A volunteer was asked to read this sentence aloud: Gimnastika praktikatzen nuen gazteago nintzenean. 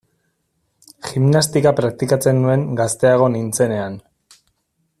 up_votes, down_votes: 2, 0